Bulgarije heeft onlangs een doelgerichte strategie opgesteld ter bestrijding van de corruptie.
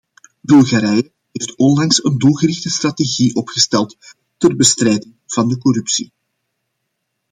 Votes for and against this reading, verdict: 2, 0, accepted